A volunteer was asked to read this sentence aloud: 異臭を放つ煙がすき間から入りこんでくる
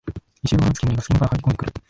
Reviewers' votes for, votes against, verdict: 0, 2, rejected